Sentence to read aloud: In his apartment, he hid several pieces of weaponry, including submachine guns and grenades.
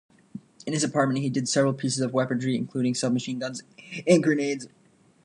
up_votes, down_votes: 0, 2